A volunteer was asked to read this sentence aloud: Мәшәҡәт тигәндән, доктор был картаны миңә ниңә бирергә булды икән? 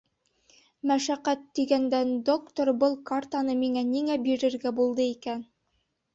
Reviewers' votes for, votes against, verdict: 2, 0, accepted